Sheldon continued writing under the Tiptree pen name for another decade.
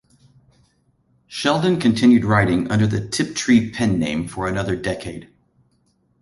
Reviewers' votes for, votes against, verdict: 2, 0, accepted